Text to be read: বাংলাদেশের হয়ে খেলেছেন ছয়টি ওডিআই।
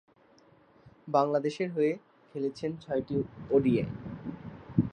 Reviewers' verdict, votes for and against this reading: accepted, 2, 0